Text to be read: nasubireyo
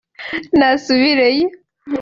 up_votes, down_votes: 3, 0